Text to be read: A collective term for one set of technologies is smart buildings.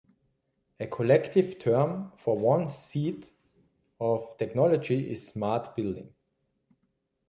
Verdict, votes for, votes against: rejected, 0, 2